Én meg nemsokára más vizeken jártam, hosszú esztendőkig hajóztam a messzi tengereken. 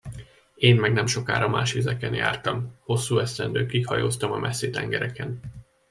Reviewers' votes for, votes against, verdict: 2, 0, accepted